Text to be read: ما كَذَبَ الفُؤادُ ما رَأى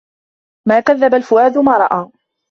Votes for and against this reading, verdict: 1, 2, rejected